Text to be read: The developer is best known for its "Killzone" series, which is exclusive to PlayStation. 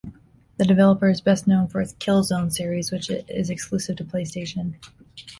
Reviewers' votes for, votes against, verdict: 2, 0, accepted